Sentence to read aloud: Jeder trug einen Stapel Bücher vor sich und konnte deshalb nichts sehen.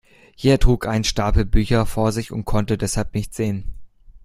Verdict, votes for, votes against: rejected, 1, 2